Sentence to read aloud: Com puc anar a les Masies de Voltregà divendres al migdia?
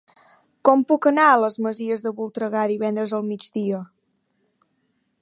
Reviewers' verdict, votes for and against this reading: accepted, 3, 0